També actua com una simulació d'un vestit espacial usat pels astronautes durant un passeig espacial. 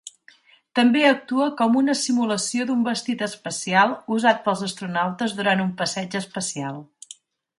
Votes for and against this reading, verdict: 2, 0, accepted